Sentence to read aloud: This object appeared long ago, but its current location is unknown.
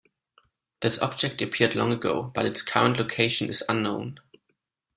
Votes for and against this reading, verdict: 2, 0, accepted